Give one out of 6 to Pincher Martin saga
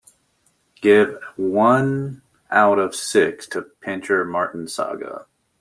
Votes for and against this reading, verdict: 0, 2, rejected